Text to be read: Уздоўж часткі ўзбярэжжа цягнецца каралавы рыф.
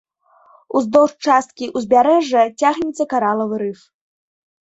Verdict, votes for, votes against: rejected, 1, 2